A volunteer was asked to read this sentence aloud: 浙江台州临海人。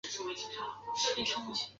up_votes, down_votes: 0, 2